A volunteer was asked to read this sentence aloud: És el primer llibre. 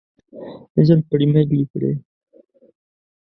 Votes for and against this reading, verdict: 1, 2, rejected